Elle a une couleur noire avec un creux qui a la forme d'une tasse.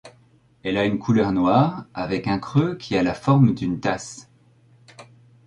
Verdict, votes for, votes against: accepted, 2, 0